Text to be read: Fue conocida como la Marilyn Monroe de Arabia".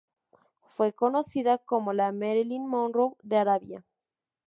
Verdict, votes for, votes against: accepted, 4, 0